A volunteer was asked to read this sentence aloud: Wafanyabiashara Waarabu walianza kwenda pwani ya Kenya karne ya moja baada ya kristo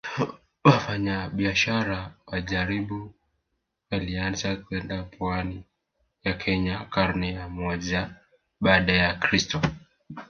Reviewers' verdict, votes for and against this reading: rejected, 1, 3